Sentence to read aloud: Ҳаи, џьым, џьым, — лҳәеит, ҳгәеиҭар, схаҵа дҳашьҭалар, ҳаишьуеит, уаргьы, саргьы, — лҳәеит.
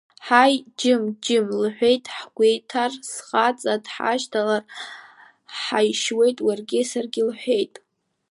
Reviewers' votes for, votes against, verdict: 1, 2, rejected